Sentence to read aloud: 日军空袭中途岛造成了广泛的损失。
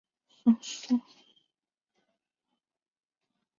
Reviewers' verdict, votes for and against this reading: rejected, 0, 2